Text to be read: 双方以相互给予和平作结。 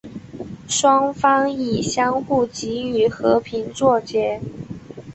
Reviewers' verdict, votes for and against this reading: accepted, 4, 0